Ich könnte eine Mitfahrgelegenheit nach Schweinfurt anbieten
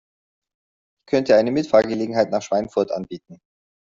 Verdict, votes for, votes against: rejected, 1, 2